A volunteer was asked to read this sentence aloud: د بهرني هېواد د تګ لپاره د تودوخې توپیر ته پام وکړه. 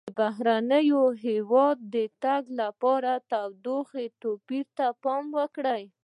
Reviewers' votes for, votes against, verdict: 1, 2, rejected